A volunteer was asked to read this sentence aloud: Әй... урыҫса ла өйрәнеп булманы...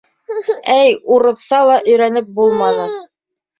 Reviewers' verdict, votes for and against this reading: rejected, 1, 2